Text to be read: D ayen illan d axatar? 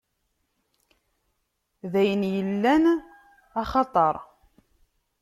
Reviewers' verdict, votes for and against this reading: rejected, 0, 2